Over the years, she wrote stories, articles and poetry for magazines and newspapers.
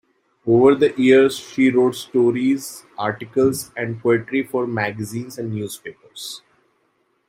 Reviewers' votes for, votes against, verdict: 1, 2, rejected